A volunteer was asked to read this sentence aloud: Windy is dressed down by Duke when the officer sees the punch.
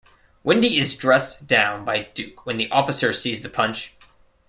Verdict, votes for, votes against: accepted, 2, 0